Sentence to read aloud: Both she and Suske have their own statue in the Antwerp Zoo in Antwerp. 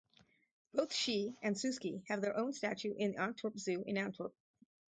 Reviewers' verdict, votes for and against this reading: rejected, 2, 2